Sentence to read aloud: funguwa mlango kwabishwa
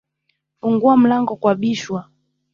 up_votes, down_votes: 1, 2